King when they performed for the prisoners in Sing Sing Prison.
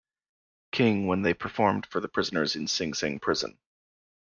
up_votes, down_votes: 2, 0